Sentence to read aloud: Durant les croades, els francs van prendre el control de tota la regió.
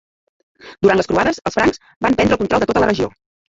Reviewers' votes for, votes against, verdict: 0, 2, rejected